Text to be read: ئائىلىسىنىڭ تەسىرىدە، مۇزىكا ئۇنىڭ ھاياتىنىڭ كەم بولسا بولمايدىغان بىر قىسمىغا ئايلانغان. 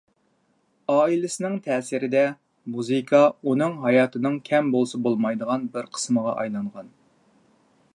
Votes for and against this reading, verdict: 2, 0, accepted